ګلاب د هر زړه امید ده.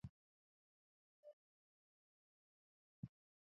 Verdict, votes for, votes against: rejected, 1, 2